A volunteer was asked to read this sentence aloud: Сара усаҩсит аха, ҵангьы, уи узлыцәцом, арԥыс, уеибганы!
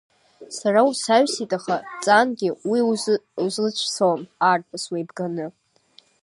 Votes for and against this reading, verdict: 0, 2, rejected